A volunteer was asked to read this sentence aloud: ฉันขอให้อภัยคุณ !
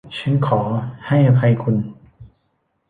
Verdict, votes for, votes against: accepted, 2, 1